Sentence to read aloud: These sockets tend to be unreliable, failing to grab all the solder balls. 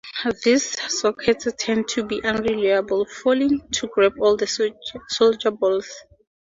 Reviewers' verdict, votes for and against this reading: accepted, 2, 0